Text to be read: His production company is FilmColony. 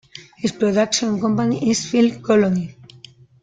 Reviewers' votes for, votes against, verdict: 2, 0, accepted